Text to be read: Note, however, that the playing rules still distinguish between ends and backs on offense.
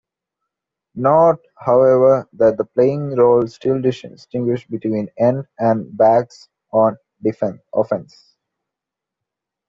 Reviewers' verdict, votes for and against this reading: rejected, 1, 2